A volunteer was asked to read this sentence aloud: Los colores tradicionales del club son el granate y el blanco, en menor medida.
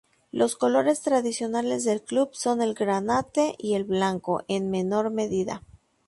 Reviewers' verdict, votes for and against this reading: accepted, 2, 0